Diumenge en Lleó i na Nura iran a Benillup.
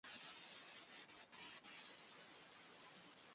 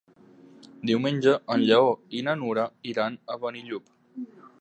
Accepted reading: second